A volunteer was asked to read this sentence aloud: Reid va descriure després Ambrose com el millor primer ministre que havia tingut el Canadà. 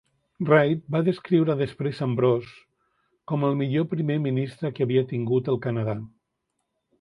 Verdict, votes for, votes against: accepted, 2, 0